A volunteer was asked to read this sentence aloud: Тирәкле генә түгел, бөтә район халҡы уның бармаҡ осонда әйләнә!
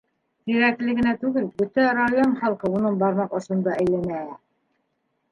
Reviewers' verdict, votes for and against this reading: rejected, 0, 2